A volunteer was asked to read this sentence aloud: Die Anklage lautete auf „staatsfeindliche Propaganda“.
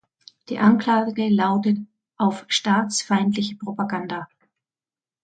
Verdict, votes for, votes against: rejected, 1, 2